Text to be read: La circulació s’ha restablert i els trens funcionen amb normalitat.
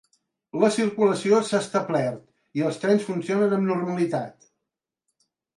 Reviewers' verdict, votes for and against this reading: rejected, 1, 2